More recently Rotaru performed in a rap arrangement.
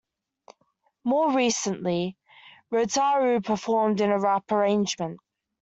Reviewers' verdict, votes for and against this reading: accepted, 2, 0